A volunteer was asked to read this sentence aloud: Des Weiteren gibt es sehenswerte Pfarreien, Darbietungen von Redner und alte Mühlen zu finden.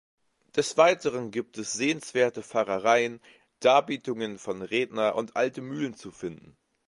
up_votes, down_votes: 1, 2